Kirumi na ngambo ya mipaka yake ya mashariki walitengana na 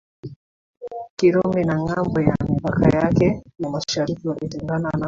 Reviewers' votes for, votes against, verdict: 2, 0, accepted